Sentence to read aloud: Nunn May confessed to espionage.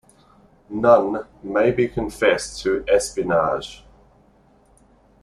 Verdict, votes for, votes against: accepted, 2, 0